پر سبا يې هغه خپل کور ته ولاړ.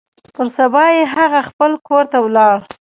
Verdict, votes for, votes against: rejected, 0, 2